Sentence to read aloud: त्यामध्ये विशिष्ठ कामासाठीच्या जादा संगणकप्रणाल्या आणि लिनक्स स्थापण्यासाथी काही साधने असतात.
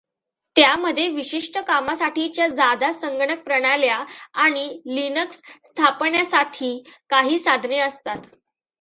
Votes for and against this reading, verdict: 2, 0, accepted